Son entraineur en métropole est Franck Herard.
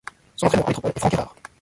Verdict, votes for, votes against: rejected, 0, 2